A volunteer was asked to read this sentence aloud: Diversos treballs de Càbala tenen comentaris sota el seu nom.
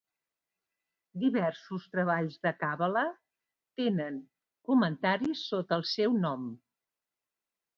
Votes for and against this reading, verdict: 2, 0, accepted